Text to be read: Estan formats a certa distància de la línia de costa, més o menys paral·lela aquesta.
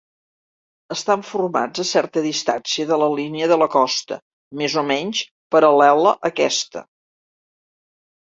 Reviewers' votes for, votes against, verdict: 1, 2, rejected